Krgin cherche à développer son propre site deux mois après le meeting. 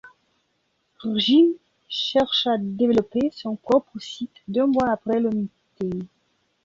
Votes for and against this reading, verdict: 0, 2, rejected